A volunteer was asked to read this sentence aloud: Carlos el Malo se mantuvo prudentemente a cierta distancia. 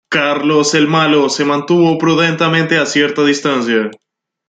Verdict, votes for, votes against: rejected, 1, 2